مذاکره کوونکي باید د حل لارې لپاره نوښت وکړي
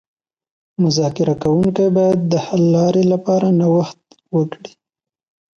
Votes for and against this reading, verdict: 2, 0, accepted